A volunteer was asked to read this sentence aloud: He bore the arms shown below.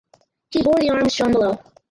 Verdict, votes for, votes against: rejected, 2, 2